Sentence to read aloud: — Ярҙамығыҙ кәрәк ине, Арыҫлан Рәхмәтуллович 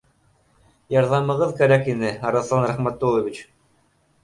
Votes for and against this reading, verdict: 2, 0, accepted